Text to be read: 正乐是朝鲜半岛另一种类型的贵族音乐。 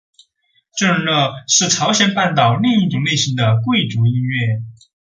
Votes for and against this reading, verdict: 3, 3, rejected